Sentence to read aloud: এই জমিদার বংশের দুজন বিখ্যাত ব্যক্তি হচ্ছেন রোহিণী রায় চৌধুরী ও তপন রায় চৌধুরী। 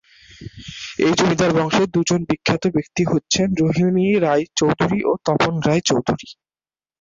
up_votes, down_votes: 2, 2